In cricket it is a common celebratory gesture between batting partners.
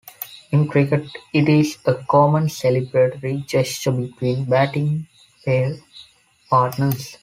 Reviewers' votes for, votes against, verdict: 0, 2, rejected